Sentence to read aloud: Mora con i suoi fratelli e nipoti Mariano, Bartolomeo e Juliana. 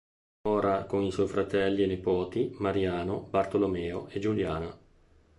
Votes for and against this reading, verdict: 0, 2, rejected